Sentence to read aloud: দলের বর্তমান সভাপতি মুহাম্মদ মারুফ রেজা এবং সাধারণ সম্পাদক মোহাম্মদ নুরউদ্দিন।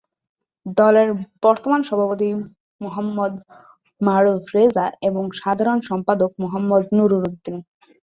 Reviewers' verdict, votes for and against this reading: rejected, 1, 2